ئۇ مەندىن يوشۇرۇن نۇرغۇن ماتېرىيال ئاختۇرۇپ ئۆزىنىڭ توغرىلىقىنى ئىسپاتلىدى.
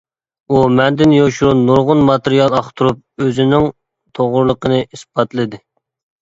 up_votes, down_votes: 2, 0